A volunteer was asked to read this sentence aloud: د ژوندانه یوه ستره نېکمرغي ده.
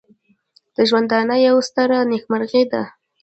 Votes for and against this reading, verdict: 0, 2, rejected